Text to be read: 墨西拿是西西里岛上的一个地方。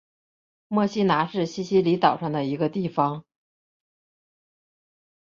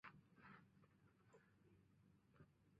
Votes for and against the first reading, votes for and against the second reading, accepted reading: 3, 0, 2, 3, first